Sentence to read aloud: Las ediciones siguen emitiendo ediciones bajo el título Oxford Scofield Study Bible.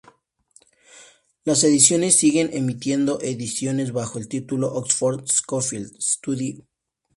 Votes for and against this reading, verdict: 0, 2, rejected